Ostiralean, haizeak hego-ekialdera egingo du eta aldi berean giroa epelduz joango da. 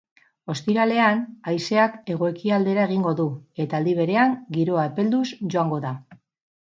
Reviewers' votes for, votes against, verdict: 2, 0, accepted